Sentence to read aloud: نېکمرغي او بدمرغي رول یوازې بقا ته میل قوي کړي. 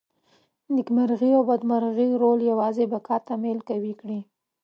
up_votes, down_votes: 2, 0